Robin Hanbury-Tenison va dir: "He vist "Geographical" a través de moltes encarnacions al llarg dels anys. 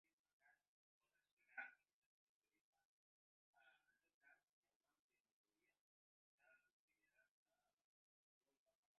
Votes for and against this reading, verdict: 0, 2, rejected